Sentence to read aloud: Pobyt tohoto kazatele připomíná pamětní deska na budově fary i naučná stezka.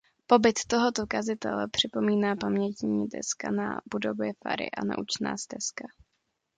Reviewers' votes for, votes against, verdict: 0, 2, rejected